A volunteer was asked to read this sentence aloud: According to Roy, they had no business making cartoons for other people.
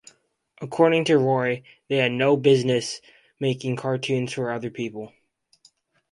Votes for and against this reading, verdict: 2, 0, accepted